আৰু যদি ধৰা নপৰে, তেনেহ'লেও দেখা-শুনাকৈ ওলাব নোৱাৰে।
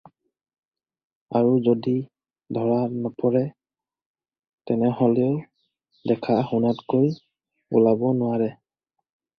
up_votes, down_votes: 0, 4